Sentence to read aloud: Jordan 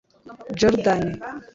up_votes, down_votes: 1, 2